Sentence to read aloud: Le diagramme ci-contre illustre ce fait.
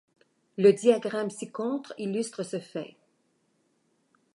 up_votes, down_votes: 2, 0